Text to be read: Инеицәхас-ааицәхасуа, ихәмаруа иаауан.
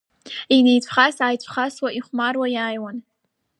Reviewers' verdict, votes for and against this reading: accepted, 2, 0